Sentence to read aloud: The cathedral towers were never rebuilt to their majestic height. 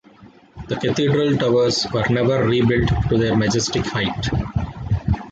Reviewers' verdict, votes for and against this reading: accepted, 2, 1